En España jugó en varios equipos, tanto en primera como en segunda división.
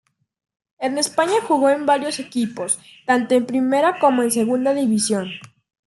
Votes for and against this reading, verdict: 2, 0, accepted